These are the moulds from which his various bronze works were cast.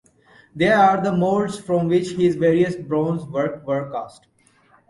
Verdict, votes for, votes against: rejected, 1, 2